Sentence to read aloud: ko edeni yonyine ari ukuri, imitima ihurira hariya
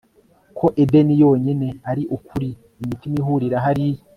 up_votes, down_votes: 4, 0